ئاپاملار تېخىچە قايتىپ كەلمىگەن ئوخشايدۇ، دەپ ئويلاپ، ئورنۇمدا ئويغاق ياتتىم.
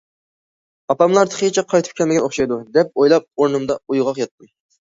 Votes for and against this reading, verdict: 2, 0, accepted